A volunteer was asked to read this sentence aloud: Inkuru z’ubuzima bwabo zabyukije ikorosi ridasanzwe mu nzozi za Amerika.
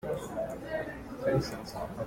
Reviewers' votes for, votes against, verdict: 0, 2, rejected